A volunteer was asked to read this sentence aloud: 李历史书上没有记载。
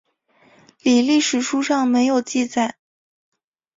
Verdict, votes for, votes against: accepted, 2, 0